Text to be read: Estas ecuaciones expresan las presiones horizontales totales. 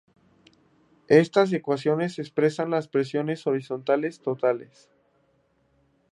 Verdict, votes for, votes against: accepted, 2, 0